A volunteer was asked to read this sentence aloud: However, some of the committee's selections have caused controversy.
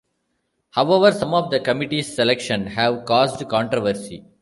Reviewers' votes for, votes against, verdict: 1, 2, rejected